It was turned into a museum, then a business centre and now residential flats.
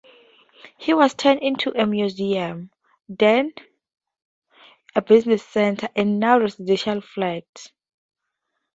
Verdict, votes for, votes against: accepted, 2, 0